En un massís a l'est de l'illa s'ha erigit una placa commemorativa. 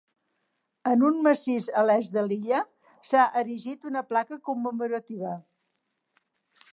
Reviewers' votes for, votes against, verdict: 2, 0, accepted